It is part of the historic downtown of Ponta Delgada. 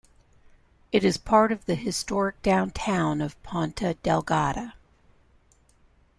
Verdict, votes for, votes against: accepted, 2, 0